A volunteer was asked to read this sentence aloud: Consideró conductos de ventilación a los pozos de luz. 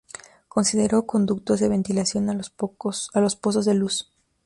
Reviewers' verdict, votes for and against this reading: rejected, 0, 2